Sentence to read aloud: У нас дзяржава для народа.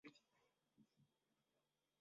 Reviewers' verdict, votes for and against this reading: rejected, 0, 2